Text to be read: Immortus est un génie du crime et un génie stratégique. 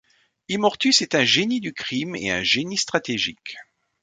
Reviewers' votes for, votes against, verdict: 2, 0, accepted